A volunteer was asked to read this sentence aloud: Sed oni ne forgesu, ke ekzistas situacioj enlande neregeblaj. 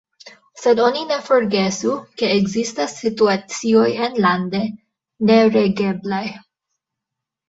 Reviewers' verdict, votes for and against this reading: accepted, 2, 1